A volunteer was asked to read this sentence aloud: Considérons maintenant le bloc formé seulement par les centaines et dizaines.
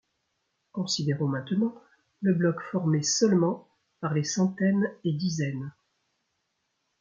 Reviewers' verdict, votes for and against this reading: accepted, 2, 0